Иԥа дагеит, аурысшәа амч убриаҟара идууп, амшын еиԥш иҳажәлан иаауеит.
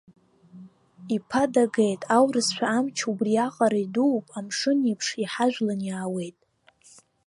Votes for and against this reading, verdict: 2, 0, accepted